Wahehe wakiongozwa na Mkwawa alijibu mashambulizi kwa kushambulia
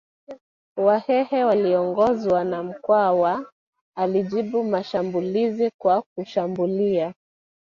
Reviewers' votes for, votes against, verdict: 1, 2, rejected